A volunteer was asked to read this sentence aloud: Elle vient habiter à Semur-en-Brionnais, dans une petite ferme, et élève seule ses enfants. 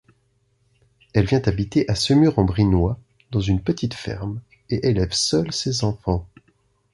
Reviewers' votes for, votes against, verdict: 0, 2, rejected